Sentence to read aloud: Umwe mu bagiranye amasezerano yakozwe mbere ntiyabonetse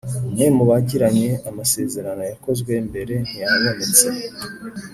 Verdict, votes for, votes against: accepted, 3, 0